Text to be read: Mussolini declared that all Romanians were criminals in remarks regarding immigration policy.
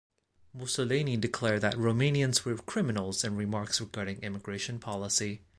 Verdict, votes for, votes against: rejected, 1, 2